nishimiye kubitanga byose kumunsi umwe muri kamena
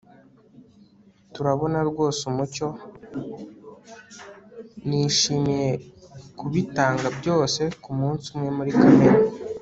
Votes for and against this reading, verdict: 1, 2, rejected